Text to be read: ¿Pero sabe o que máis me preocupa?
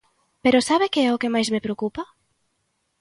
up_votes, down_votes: 1, 2